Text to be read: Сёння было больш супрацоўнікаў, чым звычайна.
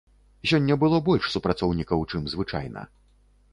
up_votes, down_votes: 2, 0